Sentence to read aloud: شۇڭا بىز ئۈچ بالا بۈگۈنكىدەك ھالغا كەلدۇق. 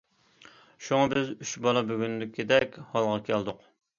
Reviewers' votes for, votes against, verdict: 2, 0, accepted